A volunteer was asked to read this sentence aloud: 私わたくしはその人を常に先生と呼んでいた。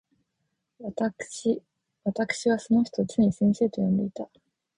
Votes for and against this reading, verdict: 0, 4, rejected